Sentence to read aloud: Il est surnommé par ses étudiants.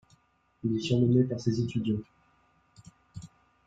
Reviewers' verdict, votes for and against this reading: rejected, 1, 2